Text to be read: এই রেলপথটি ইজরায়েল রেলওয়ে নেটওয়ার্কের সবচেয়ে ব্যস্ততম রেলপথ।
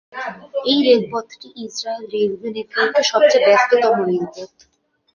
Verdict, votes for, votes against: accepted, 2, 0